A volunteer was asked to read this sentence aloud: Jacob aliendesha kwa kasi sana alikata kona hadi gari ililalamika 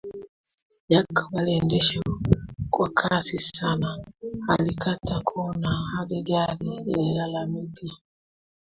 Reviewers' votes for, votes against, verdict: 2, 1, accepted